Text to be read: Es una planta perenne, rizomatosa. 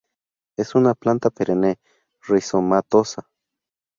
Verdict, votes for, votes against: accepted, 2, 0